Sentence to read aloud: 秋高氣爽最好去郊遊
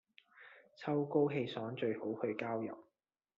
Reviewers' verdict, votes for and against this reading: accepted, 2, 0